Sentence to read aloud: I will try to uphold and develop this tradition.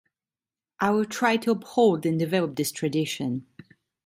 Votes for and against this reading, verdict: 2, 0, accepted